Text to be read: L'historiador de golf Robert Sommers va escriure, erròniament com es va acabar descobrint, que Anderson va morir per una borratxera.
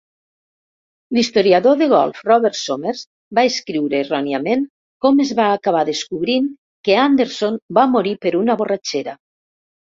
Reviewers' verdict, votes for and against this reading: accepted, 2, 0